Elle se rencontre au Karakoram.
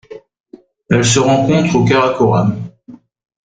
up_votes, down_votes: 2, 0